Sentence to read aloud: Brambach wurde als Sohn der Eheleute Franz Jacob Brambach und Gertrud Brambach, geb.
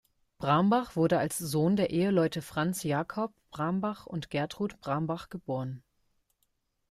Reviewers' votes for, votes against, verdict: 1, 2, rejected